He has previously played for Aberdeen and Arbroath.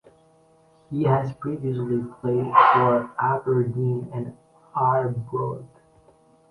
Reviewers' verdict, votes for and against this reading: rejected, 1, 2